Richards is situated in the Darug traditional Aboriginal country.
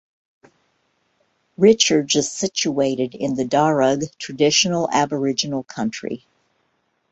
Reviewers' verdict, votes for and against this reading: accepted, 2, 0